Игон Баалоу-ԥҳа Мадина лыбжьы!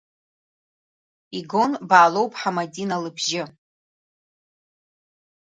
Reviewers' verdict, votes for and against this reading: accepted, 2, 0